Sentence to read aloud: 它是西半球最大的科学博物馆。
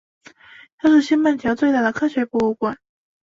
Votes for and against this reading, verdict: 2, 0, accepted